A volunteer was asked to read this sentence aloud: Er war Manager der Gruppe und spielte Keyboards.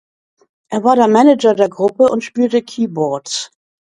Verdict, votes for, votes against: rejected, 1, 2